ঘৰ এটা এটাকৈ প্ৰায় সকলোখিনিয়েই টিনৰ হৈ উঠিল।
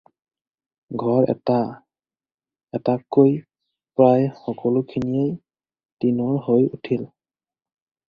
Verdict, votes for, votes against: accepted, 4, 2